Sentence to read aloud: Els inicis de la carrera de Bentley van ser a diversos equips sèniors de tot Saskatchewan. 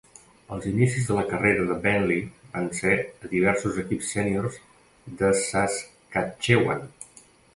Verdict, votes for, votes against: rejected, 0, 2